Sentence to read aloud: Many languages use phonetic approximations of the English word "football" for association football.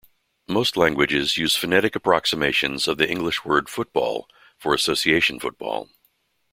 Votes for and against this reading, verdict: 0, 2, rejected